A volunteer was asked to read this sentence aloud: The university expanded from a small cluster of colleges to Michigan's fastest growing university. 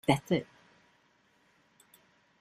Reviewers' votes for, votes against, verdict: 0, 2, rejected